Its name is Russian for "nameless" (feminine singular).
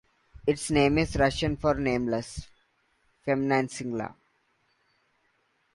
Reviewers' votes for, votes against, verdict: 2, 0, accepted